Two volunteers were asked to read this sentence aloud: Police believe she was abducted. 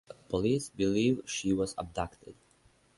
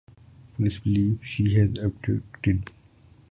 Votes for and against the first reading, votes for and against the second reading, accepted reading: 6, 0, 0, 2, first